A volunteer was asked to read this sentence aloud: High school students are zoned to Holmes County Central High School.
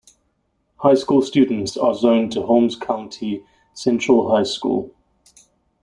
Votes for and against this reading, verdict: 2, 0, accepted